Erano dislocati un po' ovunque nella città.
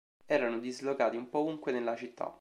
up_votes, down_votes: 2, 0